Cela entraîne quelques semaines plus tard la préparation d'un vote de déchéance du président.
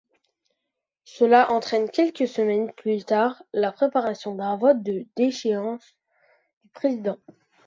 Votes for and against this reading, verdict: 0, 2, rejected